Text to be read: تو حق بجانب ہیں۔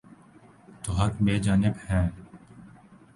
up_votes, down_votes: 3, 0